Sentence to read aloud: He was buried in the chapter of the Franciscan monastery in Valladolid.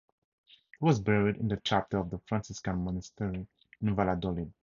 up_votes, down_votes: 4, 0